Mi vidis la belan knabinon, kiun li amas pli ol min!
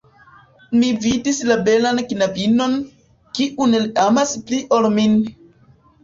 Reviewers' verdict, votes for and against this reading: rejected, 0, 2